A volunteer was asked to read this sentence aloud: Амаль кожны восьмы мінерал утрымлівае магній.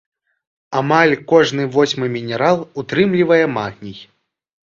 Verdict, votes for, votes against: accepted, 2, 0